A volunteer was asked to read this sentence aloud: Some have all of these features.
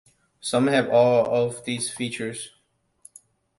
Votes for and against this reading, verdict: 2, 0, accepted